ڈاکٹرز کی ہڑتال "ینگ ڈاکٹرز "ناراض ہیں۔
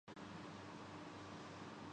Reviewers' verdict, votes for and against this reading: rejected, 1, 2